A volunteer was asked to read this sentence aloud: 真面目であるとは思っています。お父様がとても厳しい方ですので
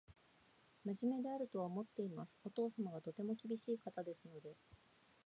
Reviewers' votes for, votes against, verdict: 2, 0, accepted